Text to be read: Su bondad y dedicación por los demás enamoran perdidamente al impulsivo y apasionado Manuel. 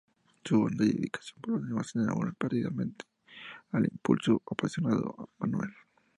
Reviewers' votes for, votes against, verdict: 2, 4, rejected